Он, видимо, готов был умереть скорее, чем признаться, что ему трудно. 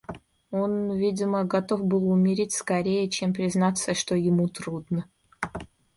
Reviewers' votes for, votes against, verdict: 2, 0, accepted